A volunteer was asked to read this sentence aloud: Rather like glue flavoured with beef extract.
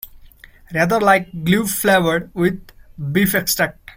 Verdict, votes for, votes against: rejected, 1, 2